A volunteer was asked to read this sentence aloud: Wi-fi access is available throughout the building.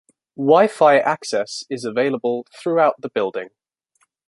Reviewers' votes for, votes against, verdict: 2, 1, accepted